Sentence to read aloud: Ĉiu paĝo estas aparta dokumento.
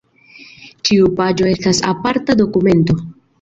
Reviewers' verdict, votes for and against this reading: accepted, 2, 0